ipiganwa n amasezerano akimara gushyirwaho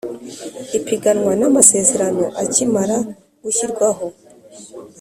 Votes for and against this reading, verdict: 4, 0, accepted